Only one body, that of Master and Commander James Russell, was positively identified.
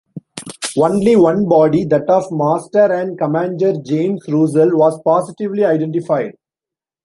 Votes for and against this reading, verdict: 0, 2, rejected